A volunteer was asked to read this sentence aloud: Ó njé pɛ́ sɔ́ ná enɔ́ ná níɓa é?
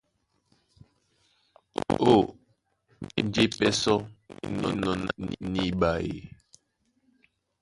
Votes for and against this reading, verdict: 0, 2, rejected